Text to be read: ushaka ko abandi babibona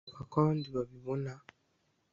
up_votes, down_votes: 1, 2